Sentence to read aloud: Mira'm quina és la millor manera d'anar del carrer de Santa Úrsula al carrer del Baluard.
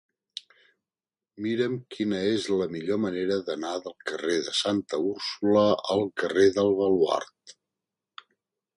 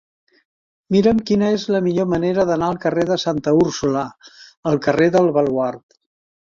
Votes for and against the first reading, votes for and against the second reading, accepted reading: 2, 0, 0, 2, first